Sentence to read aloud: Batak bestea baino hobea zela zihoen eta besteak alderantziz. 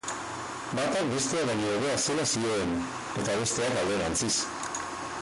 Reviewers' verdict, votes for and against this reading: rejected, 0, 4